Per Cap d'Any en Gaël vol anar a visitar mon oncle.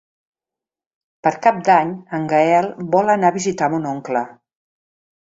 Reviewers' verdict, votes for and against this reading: accepted, 3, 0